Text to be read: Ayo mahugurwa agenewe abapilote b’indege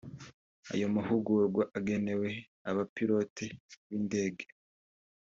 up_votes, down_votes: 2, 0